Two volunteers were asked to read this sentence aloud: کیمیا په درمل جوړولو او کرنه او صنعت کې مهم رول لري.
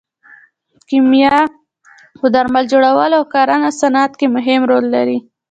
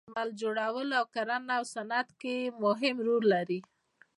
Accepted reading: first